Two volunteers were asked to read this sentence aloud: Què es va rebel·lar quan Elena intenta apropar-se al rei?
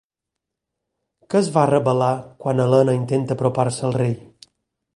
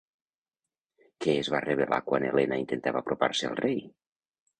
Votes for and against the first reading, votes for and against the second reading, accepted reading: 4, 0, 0, 2, first